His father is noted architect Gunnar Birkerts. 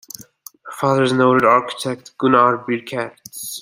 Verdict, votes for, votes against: rejected, 0, 2